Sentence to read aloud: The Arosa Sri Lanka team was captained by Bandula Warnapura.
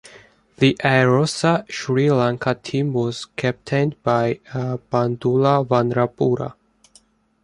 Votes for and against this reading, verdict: 1, 2, rejected